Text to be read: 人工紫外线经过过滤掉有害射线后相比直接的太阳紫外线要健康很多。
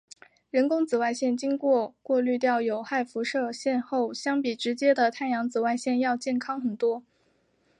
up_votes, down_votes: 3, 1